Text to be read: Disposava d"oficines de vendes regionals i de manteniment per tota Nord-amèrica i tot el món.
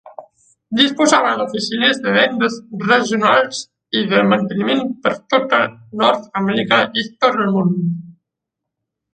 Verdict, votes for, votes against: rejected, 1, 2